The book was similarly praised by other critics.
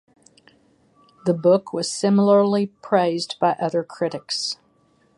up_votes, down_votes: 6, 0